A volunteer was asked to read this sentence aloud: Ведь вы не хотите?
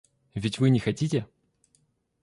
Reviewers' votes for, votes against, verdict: 2, 0, accepted